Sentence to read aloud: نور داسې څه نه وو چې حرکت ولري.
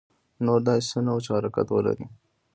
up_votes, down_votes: 2, 0